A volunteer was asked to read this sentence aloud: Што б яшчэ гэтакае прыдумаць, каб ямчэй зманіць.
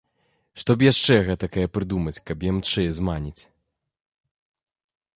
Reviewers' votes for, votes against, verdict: 2, 0, accepted